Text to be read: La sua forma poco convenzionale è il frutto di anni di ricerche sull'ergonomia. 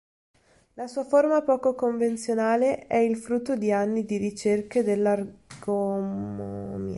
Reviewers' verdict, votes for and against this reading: rejected, 0, 2